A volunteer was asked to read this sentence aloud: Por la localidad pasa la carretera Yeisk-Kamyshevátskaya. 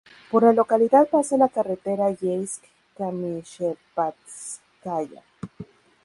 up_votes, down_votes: 2, 2